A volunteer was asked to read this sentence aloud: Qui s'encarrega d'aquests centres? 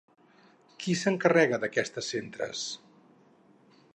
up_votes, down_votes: 0, 4